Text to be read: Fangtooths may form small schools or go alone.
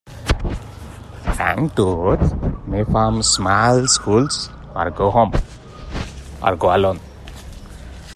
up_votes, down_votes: 0, 2